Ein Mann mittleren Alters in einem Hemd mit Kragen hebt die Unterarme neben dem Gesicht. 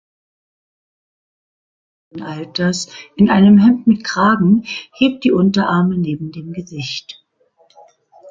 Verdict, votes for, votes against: rejected, 0, 2